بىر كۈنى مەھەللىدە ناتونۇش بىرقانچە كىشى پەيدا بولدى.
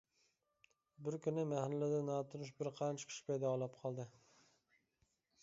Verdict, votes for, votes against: rejected, 0, 2